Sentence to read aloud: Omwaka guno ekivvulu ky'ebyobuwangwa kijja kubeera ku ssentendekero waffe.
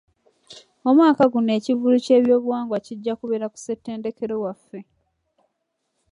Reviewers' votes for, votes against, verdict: 2, 0, accepted